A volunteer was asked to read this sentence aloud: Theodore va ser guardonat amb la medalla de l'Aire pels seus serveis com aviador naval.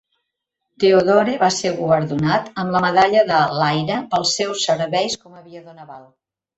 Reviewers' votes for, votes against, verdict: 1, 2, rejected